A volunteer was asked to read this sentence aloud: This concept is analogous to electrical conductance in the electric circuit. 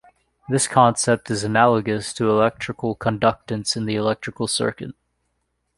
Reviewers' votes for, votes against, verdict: 3, 1, accepted